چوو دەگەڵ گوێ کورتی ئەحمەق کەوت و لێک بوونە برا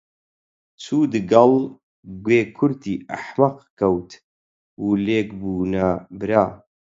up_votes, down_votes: 0, 4